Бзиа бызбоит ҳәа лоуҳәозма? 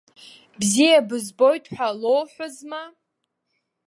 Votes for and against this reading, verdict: 2, 0, accepted